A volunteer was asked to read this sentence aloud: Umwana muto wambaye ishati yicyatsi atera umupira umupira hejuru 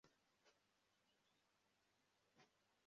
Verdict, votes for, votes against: rejected, 0, 2